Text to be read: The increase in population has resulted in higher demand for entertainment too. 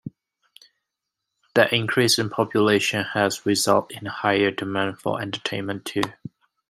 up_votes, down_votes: 2, 1